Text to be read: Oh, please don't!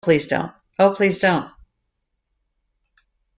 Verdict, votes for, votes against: rejected, 0, 2